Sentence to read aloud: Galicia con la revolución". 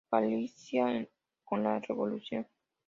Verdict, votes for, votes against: accepted, 2, 0